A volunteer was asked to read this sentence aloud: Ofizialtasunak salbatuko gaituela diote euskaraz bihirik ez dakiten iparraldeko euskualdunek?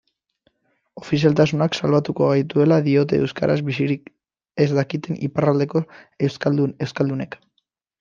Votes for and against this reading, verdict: 0, 2, rejected